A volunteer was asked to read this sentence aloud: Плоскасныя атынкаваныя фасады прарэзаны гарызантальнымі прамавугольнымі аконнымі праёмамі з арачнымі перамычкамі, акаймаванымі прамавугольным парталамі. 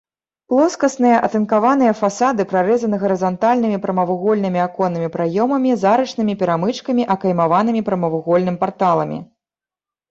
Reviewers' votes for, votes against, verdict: 2, 0, accepted